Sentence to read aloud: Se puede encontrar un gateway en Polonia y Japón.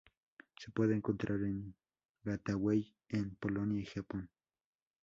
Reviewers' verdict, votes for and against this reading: rejected, 2, 2